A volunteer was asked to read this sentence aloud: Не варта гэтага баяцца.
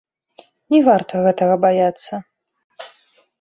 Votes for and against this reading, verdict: 1, 2, rejected